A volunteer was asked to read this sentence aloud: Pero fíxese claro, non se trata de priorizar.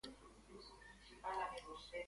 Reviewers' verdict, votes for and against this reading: rejected, 0, 2